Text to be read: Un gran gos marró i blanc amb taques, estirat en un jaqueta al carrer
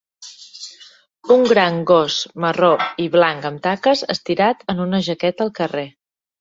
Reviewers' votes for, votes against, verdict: 2, 0, accepted